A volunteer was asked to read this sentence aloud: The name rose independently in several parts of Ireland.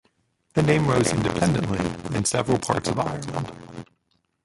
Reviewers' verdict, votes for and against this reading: accepted, 2, 1